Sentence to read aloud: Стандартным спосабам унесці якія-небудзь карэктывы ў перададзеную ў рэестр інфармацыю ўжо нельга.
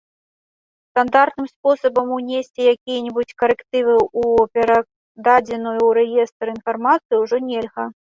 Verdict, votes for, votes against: rejected, 1, 2